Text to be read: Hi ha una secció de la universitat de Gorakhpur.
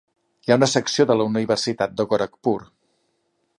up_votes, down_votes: 2, 0